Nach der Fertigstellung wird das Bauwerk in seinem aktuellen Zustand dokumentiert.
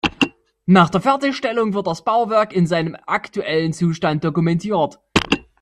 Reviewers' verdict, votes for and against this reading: accepted, 2, 1